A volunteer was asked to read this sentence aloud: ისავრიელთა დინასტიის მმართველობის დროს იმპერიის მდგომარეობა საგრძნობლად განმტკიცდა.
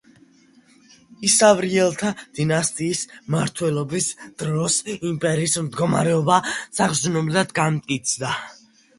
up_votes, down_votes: 2, 1